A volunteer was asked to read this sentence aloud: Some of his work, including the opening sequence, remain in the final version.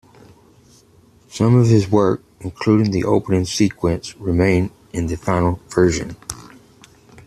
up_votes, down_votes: 2, 0